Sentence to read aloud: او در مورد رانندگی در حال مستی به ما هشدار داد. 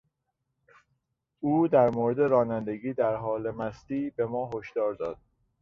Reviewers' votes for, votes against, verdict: 3, 0, accepted